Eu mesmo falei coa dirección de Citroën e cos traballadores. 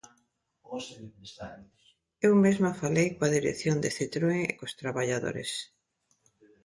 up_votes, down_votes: 0, 2